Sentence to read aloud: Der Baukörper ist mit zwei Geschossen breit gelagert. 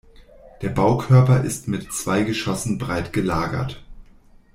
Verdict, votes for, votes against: accepted, 2, 0